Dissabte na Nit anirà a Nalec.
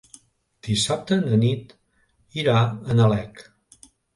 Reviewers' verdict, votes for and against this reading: rejected, 1, 2